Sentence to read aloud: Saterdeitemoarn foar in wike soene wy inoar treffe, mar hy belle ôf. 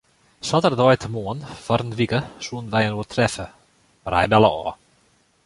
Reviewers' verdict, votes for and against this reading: rejected, 1, 2